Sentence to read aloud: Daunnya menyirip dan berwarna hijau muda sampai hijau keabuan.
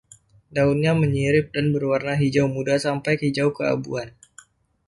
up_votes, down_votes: 2, 0